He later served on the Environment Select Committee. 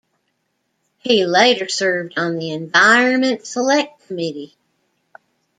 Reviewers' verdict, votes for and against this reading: accepted, 2, 0